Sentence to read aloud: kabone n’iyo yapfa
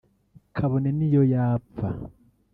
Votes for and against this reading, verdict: 1, 2, rejected